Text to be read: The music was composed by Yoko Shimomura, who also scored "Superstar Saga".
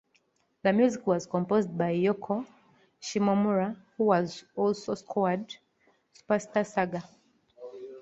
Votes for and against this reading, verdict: 2, 0, accepted